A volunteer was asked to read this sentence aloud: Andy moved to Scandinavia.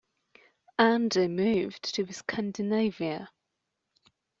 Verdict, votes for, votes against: accepted, 2, 0